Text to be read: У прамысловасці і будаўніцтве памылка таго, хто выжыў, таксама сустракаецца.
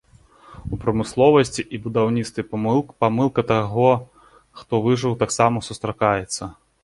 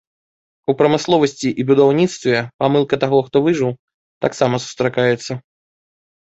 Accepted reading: second